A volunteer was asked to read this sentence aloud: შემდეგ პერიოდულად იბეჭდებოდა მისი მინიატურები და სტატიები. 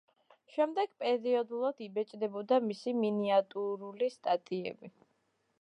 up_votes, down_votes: 0, 2